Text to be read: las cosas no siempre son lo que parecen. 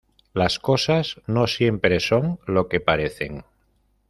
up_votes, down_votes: 2, 0